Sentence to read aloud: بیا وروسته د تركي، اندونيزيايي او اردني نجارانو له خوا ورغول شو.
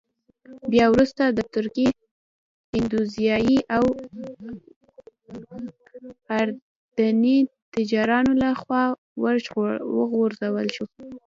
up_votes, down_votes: 0, 3